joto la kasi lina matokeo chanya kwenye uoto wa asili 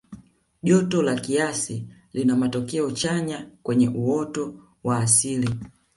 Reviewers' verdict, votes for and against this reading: rejected, 0, 2